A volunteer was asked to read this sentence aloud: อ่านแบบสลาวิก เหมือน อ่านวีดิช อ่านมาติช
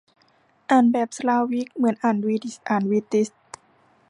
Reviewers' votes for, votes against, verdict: 1, 2, rejected